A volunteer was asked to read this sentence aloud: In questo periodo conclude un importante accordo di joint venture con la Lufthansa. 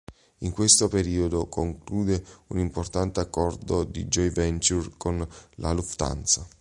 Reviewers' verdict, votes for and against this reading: accepted, 2, 1